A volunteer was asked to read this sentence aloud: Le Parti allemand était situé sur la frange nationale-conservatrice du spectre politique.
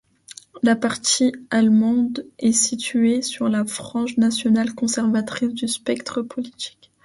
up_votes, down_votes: 2, 0